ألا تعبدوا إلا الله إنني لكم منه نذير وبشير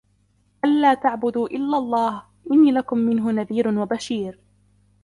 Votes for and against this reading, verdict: 1, 2, rejected